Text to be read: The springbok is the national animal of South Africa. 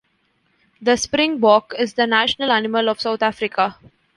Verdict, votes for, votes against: accepted, 2, 0